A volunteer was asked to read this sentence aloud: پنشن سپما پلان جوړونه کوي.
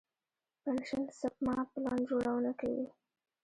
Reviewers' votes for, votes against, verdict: 2, 1, accepted